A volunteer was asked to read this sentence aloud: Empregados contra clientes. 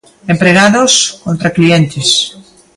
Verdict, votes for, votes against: accepted, 2, 0